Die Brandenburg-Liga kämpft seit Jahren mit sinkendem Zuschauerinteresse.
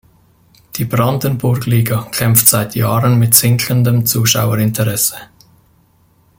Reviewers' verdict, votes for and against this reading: rejected, 1, 2